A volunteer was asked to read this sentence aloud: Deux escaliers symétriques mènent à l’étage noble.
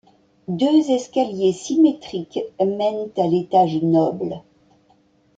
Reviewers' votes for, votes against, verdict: 2, 0, accepted